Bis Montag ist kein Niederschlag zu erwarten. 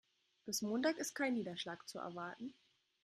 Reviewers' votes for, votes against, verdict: 3, 0, accepted